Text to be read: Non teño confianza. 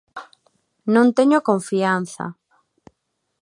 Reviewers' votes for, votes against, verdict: 2, 0, accepted